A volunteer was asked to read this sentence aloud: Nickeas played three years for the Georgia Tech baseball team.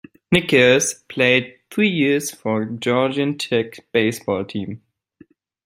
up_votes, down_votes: 0, 2